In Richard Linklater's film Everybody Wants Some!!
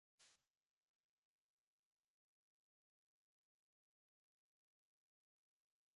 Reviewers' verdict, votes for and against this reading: rejected, 0, 2